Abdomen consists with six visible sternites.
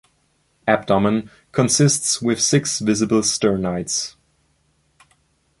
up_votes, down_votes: 2, 0